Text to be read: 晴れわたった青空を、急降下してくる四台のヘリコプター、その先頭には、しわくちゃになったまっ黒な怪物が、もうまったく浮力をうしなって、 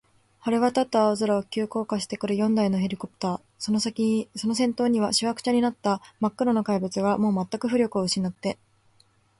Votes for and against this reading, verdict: 1, 2, rejected